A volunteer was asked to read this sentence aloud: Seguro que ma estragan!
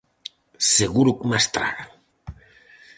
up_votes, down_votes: 4, 0